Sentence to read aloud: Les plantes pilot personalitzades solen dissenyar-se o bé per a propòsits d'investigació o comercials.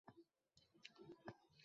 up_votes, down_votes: 1, 2